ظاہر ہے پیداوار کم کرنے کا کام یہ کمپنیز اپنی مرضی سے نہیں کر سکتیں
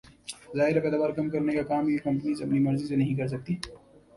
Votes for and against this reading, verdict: 2, 0, accepted